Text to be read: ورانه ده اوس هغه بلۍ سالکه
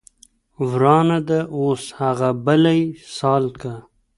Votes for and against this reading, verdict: 1, 2, rejected